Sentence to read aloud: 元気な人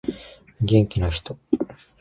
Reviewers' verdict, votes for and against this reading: accepted, 2, 0